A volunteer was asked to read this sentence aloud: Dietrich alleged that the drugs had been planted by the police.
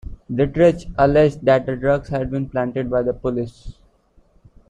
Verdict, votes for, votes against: accepted, 2, 0